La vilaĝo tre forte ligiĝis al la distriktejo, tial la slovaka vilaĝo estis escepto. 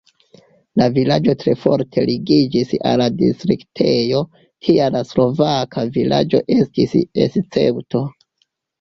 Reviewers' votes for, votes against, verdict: 2, 1, accepted